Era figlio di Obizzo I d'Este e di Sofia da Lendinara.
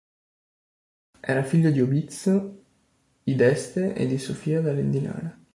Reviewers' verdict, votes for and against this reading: rejected, 1, 2